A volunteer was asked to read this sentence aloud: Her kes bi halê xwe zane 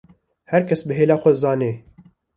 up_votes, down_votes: 1, 2